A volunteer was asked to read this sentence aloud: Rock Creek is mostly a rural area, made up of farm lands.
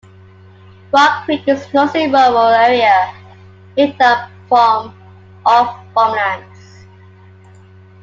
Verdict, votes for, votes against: rejected, 0, 2